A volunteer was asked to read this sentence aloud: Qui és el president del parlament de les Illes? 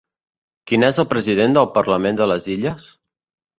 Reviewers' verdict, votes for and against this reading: rejected, 1, 2